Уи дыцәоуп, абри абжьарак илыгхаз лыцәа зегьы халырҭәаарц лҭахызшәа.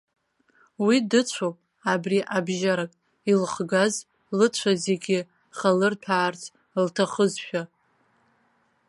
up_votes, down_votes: 1, 2